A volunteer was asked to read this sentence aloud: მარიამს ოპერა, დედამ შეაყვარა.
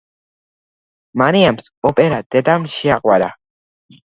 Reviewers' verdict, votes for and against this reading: accepted, 2, 0